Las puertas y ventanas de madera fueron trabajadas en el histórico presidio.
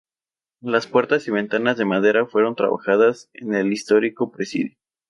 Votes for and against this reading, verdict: 2, 0, accepted